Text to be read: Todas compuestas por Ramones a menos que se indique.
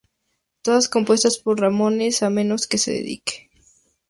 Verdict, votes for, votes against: rejected, 0, 4